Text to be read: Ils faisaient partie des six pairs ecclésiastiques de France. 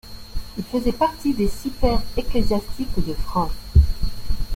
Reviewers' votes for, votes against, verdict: 3, 1, accepted